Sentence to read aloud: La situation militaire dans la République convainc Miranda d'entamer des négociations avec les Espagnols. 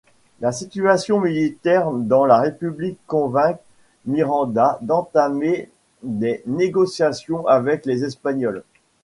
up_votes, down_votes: 2, 0